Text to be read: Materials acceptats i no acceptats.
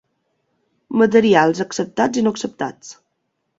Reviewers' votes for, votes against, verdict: 2, 0, accepted